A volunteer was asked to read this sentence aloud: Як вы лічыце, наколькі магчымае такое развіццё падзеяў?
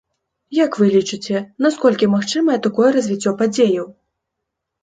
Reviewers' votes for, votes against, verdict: 2, 1, accepted